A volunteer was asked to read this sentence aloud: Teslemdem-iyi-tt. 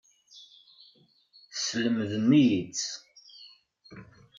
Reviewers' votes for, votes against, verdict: 2, 0, accepted